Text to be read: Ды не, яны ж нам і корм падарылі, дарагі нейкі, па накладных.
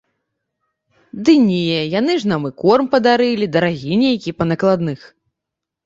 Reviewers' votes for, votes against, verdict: 2, 0, accepted